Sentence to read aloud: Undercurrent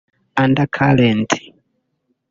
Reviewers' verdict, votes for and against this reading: rejected, 1, 2